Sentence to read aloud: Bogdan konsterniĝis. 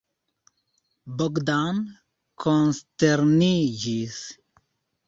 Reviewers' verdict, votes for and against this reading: accepted, 2, 0